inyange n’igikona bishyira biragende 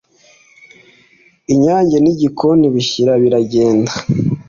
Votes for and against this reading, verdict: 2, 0, accepted